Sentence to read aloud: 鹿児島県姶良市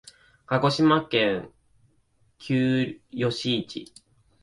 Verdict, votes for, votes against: rejected, 2, 4